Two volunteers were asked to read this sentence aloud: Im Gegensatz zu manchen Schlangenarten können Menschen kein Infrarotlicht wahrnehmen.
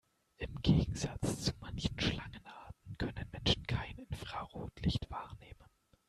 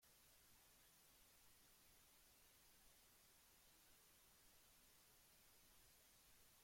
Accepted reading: first